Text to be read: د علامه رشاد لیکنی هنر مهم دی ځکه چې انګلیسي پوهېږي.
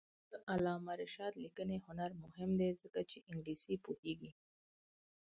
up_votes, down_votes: 2, 4